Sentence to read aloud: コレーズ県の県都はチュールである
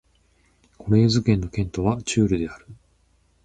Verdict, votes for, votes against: accepted, 4, 0